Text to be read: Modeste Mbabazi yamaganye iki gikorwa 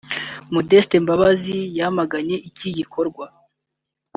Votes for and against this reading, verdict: 3, 0, accepted